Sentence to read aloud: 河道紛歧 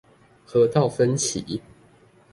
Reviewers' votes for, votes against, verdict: 2, 0, accepted